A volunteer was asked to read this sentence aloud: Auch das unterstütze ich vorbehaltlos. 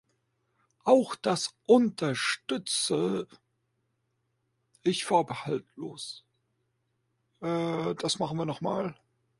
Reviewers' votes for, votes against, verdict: 0, 2, rejected